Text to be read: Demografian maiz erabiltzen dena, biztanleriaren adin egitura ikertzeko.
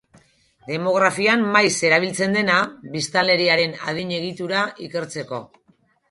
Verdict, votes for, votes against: accepted, 2, 0